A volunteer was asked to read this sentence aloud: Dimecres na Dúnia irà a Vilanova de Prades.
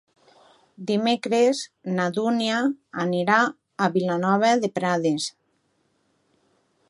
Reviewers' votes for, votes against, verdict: 1, 2, rejected